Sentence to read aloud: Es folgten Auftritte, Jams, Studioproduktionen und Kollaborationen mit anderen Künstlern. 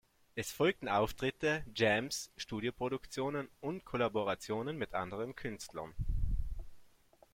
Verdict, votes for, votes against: accepted, 2, 0